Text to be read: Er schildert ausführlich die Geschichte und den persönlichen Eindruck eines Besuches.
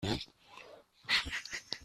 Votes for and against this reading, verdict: 0, 2, rejected